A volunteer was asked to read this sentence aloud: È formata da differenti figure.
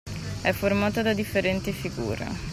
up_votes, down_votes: 2, 0